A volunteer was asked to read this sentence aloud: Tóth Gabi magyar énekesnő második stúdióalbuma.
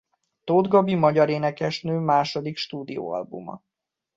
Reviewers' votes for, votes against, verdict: 2, 0, accepted